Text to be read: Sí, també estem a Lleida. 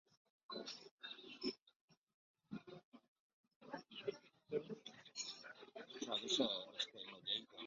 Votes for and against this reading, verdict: 0, 2, rejected